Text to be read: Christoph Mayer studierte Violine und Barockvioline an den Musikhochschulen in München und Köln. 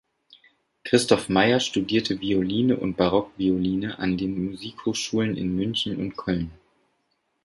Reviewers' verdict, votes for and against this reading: accepted, 2, 0